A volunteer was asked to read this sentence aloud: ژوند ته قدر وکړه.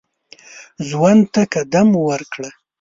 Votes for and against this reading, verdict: 1, 2, rejected